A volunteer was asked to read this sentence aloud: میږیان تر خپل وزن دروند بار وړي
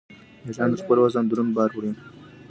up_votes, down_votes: 2, 1